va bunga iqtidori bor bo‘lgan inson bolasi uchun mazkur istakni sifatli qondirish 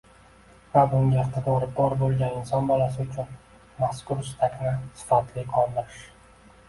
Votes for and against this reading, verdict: 2, 0, accepted